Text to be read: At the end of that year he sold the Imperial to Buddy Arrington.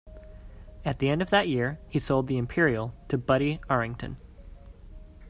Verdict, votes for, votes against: accepted, 2, 0